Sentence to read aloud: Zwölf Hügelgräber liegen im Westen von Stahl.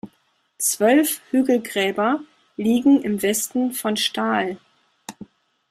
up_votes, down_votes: 2, 0